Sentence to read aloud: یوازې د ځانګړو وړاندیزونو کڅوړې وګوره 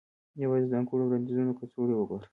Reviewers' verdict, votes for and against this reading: accepted, 2, 0